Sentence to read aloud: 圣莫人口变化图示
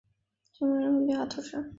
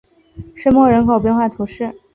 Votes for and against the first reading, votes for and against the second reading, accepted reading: 1, 4, 2, 0, second